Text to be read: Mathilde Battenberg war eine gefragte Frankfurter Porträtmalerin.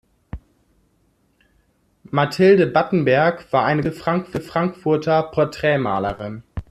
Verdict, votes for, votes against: rejected, 0, 2